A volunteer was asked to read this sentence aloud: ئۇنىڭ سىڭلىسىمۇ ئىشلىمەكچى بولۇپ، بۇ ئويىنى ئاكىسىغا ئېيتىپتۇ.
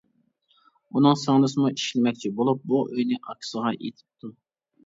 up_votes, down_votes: 0, 2